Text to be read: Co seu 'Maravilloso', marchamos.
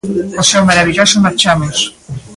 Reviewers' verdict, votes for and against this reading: rejected, 1, 2